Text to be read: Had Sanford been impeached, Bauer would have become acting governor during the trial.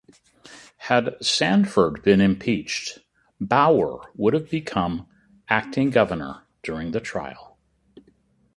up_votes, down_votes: 2, 0